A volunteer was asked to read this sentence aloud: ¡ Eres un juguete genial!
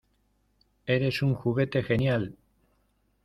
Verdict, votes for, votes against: accepted, 2, 0